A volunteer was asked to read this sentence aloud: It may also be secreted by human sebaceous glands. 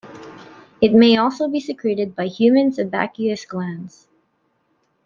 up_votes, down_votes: 0, 2